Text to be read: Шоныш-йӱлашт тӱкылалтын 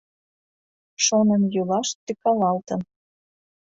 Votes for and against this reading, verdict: 1, 2, rejected